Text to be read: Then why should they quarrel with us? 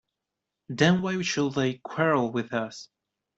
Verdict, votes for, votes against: rejected, 1, 2